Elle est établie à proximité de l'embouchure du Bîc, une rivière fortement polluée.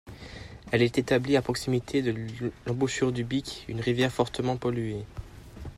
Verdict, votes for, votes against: accepted, 2, 0